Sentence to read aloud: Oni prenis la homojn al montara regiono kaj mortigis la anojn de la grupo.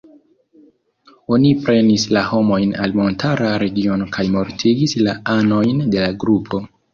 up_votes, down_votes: 2, 0